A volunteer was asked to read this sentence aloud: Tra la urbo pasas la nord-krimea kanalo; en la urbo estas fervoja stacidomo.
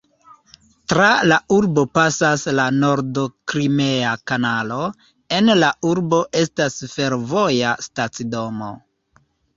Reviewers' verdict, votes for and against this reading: rejected, 1, 3